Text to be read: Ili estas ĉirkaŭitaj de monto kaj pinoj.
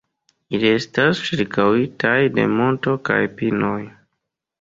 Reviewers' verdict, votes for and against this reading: accepted, 2, 0